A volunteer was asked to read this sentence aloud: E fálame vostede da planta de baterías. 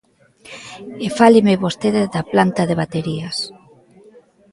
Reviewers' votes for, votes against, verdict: 0, 2, rejected